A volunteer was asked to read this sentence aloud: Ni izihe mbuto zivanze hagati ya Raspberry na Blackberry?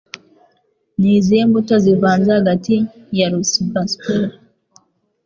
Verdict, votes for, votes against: rejected, 0, 2